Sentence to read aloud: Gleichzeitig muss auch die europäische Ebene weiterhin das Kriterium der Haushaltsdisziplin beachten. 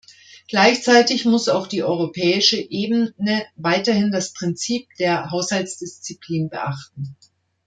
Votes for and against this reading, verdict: 0, 2, rejected